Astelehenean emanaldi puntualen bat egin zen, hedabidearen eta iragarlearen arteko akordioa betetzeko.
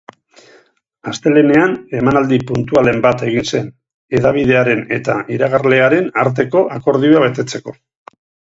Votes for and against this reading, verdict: 4, 0, accepted